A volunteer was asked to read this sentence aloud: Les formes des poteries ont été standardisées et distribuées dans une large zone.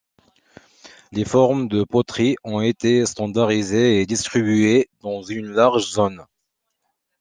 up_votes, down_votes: 1, 2